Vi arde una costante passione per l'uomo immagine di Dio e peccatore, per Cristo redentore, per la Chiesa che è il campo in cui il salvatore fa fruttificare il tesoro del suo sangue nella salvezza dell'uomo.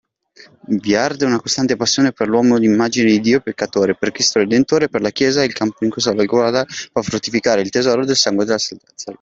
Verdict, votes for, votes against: rejected, 0, 2